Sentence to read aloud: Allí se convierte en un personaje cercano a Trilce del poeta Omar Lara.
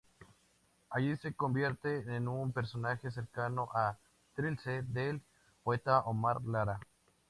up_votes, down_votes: 2, 0